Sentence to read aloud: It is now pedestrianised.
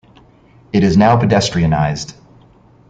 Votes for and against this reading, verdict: 2, 0, accepted